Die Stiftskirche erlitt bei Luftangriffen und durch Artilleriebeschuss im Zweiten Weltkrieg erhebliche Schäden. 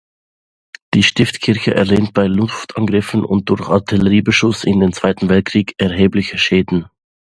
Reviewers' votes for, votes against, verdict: 0, 2, rejected